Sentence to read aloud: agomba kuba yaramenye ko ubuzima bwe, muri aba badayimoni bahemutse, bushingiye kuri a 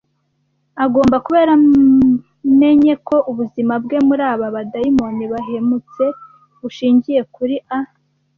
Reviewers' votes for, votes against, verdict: 1, 2, rejected